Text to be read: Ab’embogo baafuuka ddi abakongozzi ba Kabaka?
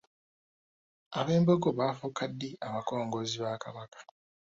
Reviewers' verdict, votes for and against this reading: rejected, 1, 2